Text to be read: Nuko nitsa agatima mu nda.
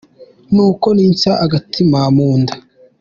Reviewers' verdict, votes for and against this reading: accepted, 2, 1